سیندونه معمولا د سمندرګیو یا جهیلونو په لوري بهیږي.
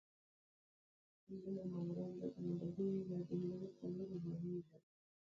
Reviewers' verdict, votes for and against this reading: rejected, 0, 2